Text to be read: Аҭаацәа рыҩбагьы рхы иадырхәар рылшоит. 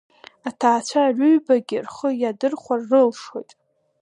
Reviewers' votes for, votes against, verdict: 1, 2, rejected